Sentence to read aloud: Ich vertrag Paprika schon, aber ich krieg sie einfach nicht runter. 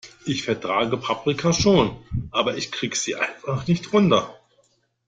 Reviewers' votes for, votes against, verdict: 0, 2, rejected